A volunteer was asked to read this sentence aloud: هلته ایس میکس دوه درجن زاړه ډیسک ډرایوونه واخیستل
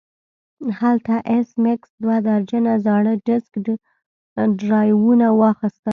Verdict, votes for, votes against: rejected, 0, 2